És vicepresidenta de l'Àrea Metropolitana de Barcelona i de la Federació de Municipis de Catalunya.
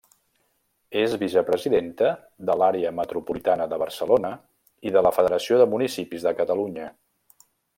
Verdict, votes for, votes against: accepted, 3, 0